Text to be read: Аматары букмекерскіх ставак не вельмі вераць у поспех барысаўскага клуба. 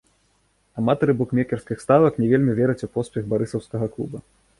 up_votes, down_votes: 2, 0